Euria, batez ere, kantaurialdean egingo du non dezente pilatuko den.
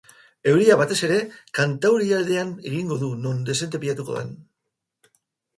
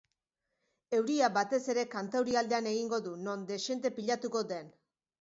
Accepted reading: first